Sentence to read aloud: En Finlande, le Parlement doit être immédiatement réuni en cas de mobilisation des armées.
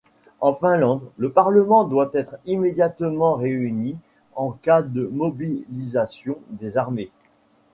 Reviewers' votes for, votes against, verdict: 2, 0, accepted